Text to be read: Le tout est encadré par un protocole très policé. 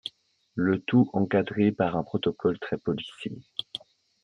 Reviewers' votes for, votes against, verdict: 0, 2, rejected